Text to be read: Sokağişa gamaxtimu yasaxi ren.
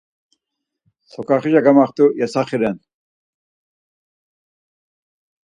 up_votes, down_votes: 2, 4